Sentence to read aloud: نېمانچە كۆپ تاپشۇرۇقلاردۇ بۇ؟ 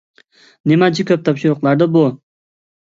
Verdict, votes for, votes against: accepted, 2, 0